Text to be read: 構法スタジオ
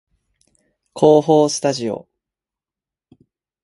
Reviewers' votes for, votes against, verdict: 1, 2, rejected